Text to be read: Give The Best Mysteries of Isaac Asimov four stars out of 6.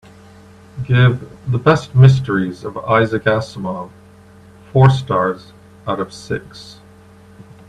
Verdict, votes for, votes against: rejected, 0, 2